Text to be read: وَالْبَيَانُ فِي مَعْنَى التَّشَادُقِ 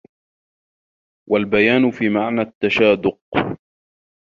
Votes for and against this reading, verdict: 2, 1, accepted